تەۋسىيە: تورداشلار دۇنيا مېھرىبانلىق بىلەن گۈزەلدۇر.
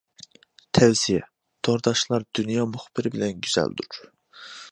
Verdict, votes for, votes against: rejected, 0, 2